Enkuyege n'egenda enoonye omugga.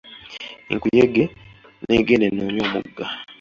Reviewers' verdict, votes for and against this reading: accepted, 2, 0